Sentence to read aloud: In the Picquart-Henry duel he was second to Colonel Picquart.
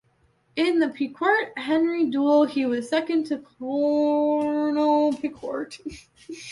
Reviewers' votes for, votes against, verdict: 0, 2, rejected